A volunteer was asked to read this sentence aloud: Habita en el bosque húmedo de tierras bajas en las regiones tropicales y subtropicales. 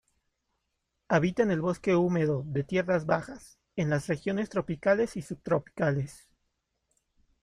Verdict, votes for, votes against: rejected, 1, 2